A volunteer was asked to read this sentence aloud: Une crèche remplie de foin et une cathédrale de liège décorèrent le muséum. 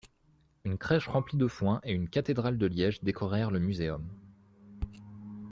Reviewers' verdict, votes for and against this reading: accepted, 2, 0